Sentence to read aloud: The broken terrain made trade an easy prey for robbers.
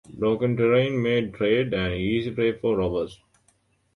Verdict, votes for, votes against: rejected, 1, 2